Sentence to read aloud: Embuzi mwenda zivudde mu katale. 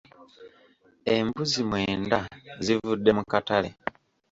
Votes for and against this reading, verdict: 2, 0, accepted